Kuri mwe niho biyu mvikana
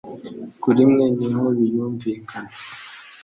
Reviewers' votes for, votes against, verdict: 2, 0, accepted